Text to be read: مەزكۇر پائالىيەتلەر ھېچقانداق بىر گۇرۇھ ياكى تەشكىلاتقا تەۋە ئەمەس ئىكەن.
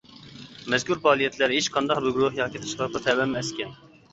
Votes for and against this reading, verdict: 0, 2, rejected